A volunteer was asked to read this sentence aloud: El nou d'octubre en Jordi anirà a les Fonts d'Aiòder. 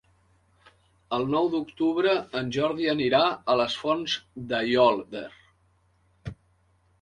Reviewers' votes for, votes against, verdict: 0, 3, rejected